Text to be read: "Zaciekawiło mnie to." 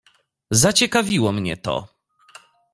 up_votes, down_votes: 2, 0